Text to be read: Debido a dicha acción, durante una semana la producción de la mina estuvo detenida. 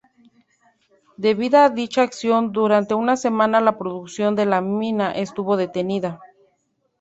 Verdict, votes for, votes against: rejected, 0, 2